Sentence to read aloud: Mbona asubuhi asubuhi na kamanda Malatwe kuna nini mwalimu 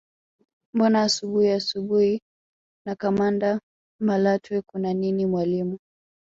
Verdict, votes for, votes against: accepted, 2, 1